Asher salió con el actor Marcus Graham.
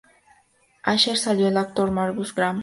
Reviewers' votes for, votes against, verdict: 2, 4, rejected